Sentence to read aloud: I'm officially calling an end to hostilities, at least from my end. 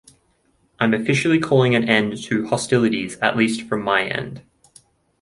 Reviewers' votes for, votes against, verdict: 2, 0, accepted